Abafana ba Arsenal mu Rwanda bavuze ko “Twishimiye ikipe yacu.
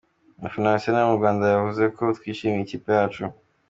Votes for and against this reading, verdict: 2, 0, accepted